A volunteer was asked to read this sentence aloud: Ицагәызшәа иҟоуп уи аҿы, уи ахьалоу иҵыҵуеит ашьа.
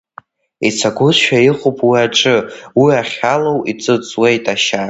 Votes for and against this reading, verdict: 2, 0, accepted